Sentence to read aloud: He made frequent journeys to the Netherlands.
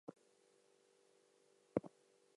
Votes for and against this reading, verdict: 0, 4, rejected